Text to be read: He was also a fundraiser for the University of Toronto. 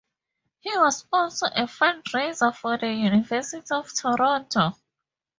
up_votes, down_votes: 2, 0